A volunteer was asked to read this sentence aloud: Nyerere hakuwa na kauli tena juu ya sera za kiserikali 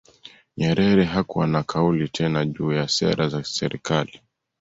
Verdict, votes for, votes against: accepted, 2, 0